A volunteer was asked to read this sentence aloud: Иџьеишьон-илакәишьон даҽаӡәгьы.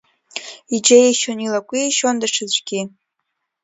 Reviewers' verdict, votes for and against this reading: rejected, 1, 2